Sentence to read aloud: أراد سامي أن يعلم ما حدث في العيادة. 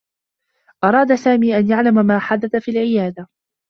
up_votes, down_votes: 0, 2